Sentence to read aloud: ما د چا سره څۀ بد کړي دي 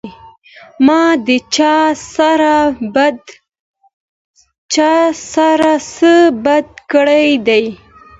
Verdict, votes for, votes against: accepted, 2, 1